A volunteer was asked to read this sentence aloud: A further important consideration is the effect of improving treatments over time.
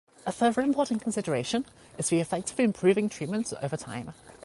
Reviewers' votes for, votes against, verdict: 0, 2, rejected